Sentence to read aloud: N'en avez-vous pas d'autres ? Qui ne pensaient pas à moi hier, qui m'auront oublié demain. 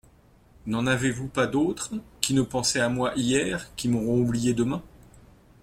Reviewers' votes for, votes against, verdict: 1, 2, rejected